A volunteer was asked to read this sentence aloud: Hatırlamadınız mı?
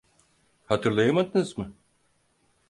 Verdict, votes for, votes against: rejected, 2, 4